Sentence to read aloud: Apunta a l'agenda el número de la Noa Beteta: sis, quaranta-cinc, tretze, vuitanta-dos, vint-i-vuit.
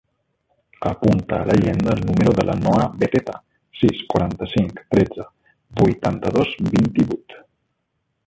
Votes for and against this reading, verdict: 0, 2, rejected